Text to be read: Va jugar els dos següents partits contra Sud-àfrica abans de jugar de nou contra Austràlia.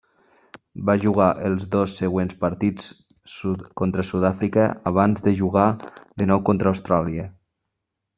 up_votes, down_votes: 0, 2